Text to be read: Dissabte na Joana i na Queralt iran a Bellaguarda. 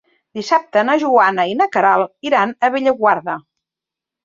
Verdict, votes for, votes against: accepted, 4, 0